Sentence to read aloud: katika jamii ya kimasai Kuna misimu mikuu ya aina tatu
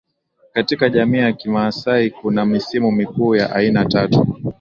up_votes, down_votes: 2, 0